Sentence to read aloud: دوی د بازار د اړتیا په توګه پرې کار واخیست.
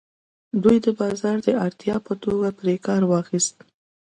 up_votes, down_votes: 2, 0